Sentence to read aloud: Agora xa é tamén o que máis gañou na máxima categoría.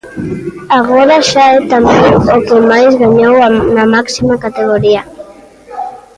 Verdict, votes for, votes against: rejected, 0, 2